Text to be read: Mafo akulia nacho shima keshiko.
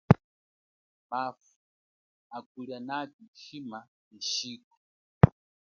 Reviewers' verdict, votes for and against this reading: rejected, 3, 5